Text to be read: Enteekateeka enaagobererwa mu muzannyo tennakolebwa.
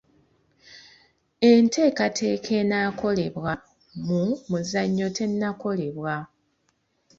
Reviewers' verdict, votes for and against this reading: rejected, 1, 2